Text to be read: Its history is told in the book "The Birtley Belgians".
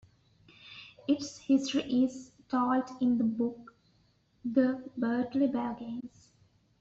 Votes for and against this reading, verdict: 2, 1, accepted